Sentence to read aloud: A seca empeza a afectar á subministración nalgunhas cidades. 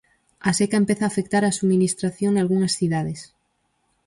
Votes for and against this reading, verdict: 4, 0, accepted